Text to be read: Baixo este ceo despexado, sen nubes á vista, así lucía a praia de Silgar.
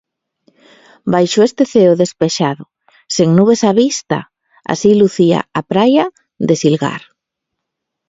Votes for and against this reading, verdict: 2, 1, accepted